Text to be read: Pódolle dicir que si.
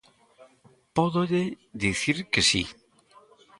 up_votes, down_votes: 2, 0